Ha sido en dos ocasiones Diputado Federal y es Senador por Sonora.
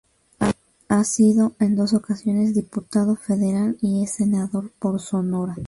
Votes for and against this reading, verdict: 2, 0, accepted